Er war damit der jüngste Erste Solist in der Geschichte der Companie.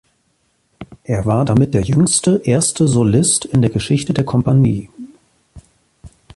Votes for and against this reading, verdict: 2, 1, accepted